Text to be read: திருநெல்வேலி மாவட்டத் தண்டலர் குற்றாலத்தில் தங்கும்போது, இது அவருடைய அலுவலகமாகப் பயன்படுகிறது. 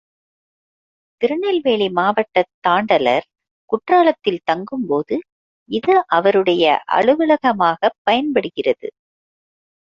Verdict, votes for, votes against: rejected, 0, 2